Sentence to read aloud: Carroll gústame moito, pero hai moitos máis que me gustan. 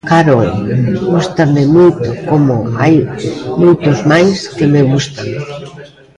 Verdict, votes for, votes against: rejected, 0, 2